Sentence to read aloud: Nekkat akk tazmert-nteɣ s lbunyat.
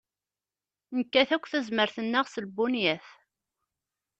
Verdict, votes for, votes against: rejected, 0, 2